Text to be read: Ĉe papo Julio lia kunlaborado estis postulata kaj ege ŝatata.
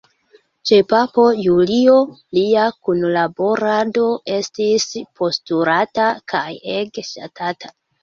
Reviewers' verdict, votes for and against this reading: rejected, 0, 2